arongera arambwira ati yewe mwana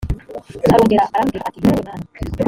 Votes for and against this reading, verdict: 1, 3, rejected